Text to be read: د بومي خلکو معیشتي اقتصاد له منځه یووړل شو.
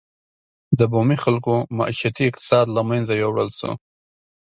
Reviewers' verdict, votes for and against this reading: accepted, 2, 0